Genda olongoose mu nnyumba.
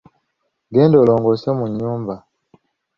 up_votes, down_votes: 2, 0